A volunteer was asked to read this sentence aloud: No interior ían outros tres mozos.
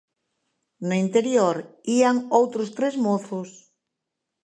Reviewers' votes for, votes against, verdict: 2, 0, accepted